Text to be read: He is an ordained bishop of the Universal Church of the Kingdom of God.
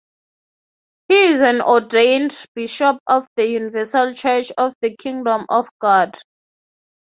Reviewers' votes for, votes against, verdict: 6, 0, accepted